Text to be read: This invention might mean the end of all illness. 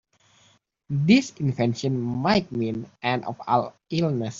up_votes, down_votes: 0, 2